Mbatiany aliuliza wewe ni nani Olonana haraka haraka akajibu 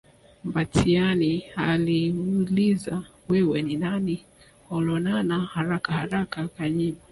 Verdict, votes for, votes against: accepted, 2, 1